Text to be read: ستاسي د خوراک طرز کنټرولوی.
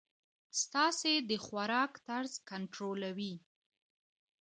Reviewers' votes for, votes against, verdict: 2, 0, accepted